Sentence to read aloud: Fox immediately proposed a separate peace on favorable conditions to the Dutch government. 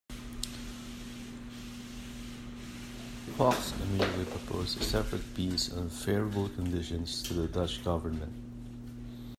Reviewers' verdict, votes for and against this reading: accepted, 2, 0